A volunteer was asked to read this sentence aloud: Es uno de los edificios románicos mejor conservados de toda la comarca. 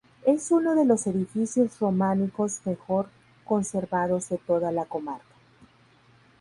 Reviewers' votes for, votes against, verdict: 2, 0, accepted